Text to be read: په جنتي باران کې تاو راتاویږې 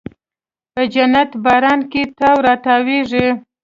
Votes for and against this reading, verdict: 2, 0, accepted